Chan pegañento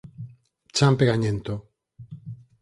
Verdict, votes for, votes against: accepted, 4, 0